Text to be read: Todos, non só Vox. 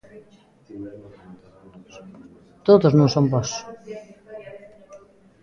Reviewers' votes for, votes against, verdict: 0, 2, rejected